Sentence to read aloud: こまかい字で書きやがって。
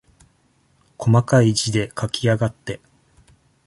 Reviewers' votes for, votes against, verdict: 2, 0, accepted